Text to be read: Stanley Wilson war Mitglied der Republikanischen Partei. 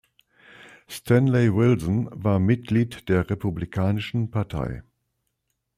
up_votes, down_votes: 2, 0